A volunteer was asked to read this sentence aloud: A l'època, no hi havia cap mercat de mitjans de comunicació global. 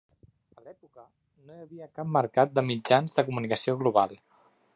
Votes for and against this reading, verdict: 0, 2, rejected